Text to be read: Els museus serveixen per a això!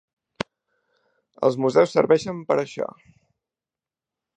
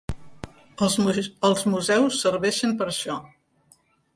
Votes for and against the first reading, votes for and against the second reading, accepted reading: 2, 0, 0, 2, first